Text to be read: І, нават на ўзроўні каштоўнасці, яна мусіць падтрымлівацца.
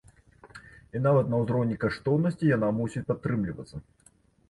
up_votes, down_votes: 2, 1